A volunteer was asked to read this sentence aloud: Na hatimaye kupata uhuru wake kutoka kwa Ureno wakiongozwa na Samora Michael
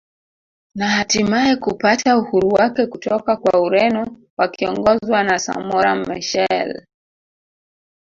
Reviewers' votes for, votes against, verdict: 0, 2, rejected